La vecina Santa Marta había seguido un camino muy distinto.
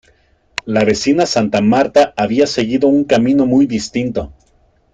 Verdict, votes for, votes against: accepted, 2, 0